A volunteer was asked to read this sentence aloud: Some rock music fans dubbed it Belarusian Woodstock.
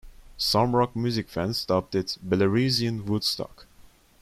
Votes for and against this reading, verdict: 2, 0, accepted